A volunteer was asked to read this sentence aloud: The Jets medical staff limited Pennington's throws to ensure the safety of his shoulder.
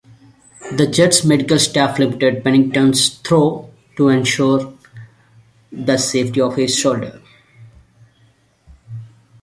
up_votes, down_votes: 0, 2